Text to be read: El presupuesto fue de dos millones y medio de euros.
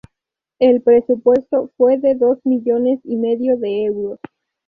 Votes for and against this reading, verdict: 2, 0, accepted